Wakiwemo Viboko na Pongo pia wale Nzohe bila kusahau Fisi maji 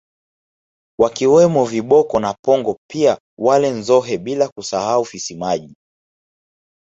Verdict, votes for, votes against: rejected, 1, 2